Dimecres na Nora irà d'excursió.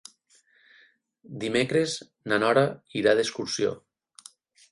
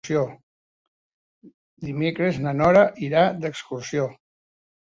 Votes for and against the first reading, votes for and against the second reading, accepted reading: 12, 0, 1, 2, first